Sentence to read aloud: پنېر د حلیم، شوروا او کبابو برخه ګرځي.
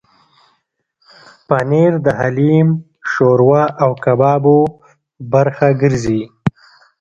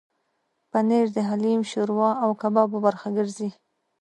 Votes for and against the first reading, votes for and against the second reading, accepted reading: 1, 2, 2, 0, second